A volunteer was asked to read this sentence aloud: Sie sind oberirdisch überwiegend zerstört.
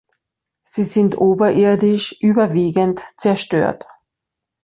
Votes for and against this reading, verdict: 2, 0, accepted